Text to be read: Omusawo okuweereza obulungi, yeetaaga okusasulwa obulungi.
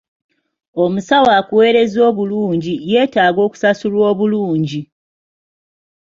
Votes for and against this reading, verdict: 1, 2, rejected